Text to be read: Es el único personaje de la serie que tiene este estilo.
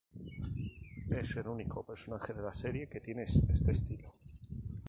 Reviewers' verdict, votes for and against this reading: rejected, 0, 2